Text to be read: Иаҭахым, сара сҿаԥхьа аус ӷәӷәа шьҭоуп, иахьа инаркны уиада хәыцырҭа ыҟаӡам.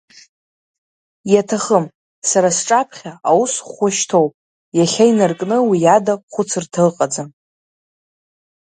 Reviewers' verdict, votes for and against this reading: accepted, 2, 0